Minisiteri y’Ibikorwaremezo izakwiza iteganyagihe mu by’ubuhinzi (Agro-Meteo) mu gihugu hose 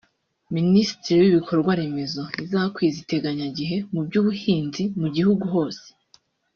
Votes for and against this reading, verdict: 1, 2, rejected